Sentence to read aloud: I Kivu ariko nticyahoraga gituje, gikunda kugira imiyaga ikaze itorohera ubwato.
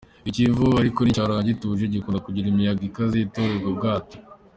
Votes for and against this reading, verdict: 2, 0, accepted